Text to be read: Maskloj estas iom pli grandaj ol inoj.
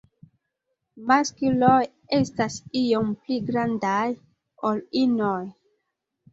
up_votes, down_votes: 1, 3